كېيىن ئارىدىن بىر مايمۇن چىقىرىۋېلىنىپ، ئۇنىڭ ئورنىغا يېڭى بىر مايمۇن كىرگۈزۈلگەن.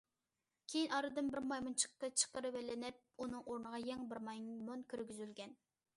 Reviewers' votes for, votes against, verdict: 0, 2, rejected